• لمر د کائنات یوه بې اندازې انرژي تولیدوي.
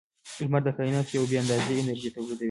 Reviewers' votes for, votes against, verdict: 2, 1, accepted